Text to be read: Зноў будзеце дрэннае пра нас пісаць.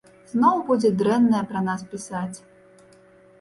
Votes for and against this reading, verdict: 1, 2, rejected